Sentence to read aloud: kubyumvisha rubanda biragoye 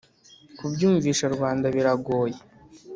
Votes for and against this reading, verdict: 2, 0, accepted